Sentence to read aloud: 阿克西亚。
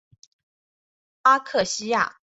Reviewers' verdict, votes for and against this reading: accepted, 3, 0